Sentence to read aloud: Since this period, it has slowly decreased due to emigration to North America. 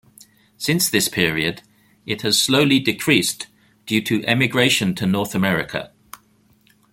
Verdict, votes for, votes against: accepted, 2, 1